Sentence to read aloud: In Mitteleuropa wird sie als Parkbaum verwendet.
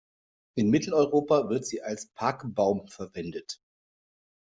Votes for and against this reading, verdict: 2, 0, accepted